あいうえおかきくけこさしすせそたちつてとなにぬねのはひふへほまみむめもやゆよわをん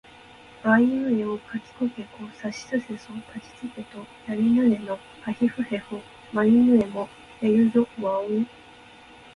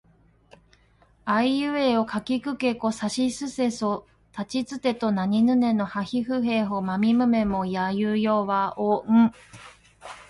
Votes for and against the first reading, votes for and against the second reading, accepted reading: 1, 2, 2, 0, second